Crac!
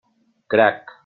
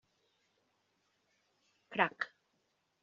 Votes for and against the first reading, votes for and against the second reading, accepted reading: 3, 0, 1, 2, first